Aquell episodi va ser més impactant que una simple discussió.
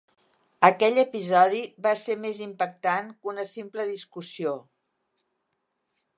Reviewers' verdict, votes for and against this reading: accepted, 3, 0